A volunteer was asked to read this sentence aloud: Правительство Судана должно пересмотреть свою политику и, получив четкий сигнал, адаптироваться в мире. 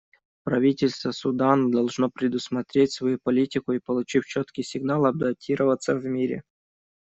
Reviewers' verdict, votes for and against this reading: rejected, 1, 2